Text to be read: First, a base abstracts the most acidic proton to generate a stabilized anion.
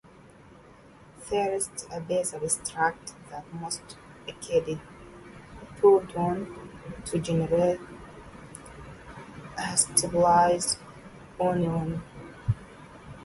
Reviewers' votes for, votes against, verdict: 0, 2, rejected